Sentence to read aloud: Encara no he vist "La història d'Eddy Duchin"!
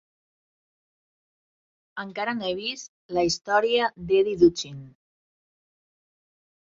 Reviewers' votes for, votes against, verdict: 4, 0, accepted